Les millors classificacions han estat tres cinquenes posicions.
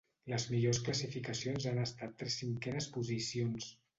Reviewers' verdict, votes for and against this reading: accepted, 2, 1